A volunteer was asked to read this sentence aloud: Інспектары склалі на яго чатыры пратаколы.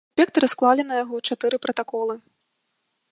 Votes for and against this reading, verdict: 1, 2, rejected